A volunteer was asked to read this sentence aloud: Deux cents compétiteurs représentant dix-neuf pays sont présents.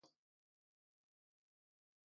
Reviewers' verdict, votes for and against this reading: rejected, 1, 2